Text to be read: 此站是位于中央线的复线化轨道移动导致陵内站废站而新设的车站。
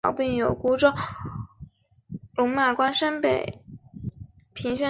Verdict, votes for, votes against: rejected, 0, 3